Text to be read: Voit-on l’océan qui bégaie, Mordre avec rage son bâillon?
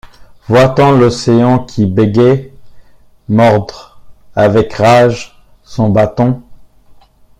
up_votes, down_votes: 0, 2